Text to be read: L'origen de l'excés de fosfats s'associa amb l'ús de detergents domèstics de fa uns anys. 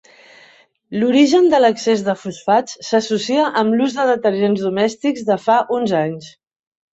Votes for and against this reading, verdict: 4, 0, accepted